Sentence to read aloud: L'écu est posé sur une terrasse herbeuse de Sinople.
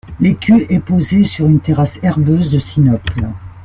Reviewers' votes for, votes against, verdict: 2, 1, accepted